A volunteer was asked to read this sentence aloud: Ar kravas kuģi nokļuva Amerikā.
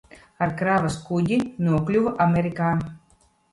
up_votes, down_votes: 1, 2